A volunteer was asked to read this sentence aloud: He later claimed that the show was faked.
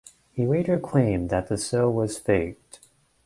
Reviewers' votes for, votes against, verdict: 2, 1, accepted